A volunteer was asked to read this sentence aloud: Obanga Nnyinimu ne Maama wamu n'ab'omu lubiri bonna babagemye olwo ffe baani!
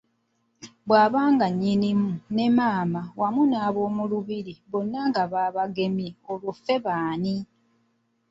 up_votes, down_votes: 0, 2